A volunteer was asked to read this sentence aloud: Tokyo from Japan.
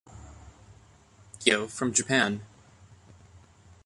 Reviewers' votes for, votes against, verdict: 0, 2, rejected